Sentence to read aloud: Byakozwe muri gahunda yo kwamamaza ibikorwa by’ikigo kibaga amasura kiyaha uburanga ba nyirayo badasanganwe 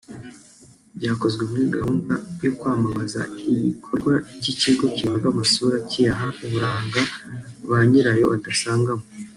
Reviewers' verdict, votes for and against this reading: rejected, 1, 2